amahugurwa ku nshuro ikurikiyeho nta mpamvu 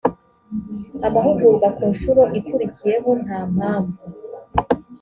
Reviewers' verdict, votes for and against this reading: accepted, 2, 0